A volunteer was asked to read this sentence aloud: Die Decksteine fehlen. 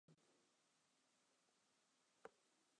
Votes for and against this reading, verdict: 0, 2, rejected